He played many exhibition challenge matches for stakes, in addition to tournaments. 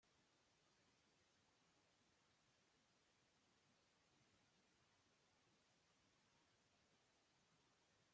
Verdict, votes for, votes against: rejected, 0, 2